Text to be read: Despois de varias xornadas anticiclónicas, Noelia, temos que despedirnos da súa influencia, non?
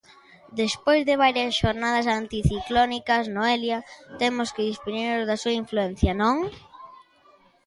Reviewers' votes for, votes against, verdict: 0, 2, rejected